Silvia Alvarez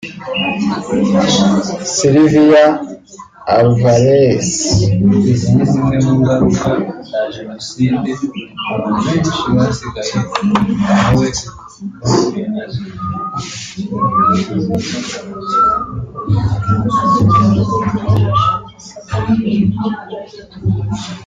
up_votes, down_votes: 0, 2